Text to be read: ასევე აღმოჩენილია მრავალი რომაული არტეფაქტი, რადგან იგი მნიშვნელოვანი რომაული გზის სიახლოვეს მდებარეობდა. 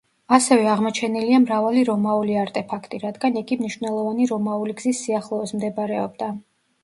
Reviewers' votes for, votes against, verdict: 2, 0, accepted